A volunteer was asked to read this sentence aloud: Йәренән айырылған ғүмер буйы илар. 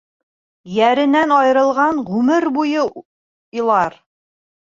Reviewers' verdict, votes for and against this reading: rejected, 1, 2